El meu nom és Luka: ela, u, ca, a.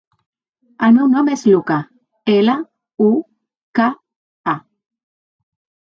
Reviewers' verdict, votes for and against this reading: accepted, 2, 0